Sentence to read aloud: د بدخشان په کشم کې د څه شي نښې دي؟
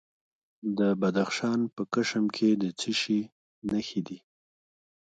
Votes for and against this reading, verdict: 2, 1, accepted